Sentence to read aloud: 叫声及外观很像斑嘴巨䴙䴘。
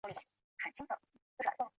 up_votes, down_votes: 0, 4